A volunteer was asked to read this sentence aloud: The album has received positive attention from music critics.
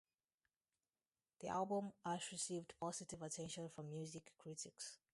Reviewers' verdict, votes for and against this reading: rejected, 0, 2